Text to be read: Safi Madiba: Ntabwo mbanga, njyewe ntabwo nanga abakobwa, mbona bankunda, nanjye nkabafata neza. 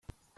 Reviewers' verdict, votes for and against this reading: rejected, 0, 2